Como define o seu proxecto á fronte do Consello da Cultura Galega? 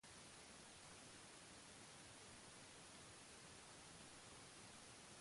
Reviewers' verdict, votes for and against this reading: rejected, 1, 2